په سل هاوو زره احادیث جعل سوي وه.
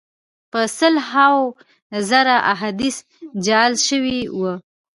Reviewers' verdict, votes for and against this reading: rejected, 1, 2